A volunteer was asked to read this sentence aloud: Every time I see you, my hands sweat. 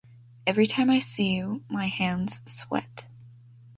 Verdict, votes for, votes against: accepted, 2, 0